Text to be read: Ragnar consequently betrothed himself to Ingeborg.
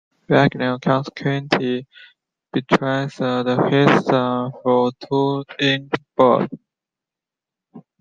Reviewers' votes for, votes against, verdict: 0, 2, rejected